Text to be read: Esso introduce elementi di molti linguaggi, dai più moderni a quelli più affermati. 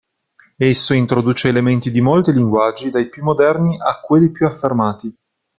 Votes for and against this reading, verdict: 2, 0, accepted